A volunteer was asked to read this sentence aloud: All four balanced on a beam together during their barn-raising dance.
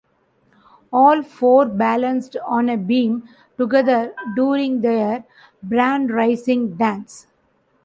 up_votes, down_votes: 0, 2